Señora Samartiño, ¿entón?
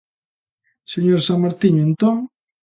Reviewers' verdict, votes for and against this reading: accepted, 2, 0